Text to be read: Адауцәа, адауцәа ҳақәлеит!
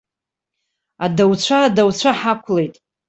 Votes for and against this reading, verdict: 2, 1, accepted